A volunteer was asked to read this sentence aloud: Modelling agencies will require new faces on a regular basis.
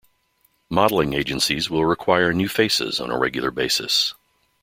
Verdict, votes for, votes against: accepted, 2, 0